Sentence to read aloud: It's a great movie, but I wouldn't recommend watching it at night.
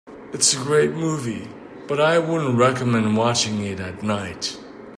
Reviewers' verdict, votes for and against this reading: accepted, 2, 0